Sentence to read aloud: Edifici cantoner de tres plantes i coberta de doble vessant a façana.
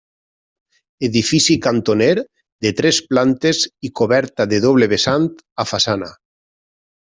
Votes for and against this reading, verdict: 3, 0, accepted